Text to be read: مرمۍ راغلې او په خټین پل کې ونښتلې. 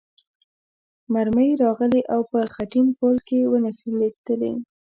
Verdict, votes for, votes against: accepted, 2, 0